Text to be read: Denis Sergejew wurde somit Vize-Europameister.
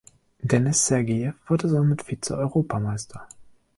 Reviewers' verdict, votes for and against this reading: rejected, 1, 2